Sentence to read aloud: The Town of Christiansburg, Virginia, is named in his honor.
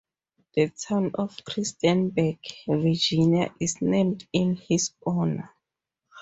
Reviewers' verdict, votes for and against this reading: rejected, 2, 2